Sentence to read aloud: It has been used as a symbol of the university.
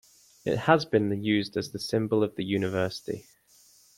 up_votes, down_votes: 2, 0